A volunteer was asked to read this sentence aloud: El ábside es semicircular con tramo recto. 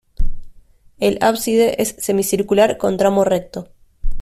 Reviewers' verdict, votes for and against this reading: accepted, 2, 0